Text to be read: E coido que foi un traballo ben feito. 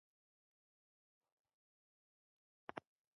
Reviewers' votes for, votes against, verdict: 0, 2, rejected